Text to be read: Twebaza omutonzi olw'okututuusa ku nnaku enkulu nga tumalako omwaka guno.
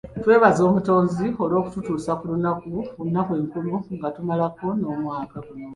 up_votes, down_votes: 0, 2